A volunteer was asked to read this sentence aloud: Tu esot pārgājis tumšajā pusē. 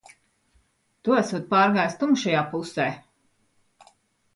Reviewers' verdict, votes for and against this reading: accepted, 3, 0